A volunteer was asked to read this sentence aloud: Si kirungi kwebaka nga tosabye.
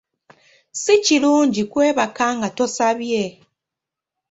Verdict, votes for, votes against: accepted, 2, 0